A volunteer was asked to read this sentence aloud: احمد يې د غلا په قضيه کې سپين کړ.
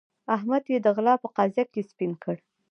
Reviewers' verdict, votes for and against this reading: rejected, 1, 2